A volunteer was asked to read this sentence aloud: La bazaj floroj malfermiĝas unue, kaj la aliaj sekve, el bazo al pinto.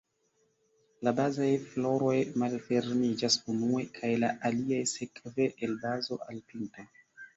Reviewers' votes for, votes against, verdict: 2, 1, accepted